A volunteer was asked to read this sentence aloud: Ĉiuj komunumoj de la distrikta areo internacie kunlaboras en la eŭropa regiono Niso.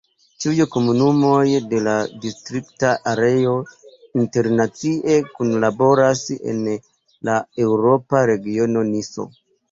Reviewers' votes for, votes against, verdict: 1, 2, rejected